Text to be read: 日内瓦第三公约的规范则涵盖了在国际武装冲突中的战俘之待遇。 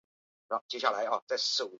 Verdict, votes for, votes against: rejected, 0, 3